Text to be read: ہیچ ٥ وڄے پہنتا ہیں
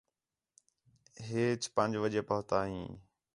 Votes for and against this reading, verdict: 0, 2, rejected